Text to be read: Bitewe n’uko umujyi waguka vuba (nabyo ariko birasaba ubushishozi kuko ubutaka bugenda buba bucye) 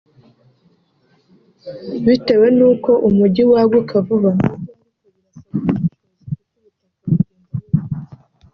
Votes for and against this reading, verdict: 0, 2, rejected